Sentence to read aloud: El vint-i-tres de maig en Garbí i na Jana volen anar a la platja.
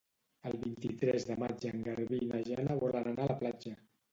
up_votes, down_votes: 1, 2